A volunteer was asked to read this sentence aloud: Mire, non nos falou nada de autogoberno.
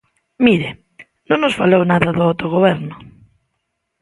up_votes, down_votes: 2, 1